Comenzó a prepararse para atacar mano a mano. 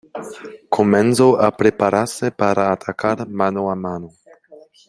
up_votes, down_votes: 0, 2